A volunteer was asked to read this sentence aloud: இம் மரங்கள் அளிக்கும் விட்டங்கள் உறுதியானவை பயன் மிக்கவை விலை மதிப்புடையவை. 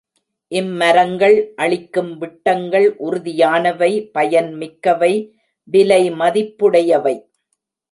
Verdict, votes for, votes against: accepted, 2, 0